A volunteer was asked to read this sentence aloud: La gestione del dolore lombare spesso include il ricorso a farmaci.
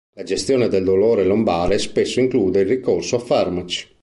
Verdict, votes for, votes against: accepted, 2, 0